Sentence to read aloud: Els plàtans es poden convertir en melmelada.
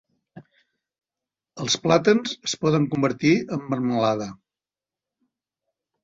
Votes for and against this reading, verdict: 0, 2, rejected